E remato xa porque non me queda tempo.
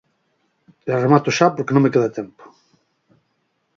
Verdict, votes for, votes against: accepted, 4, 0